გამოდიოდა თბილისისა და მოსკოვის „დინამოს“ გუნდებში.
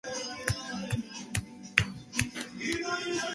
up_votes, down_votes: 0, 2